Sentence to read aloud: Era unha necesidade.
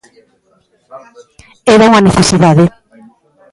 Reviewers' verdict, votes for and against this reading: rejected, 0, 2